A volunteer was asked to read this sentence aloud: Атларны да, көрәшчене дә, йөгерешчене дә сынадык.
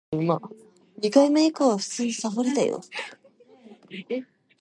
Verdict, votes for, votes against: rejected, 0, 2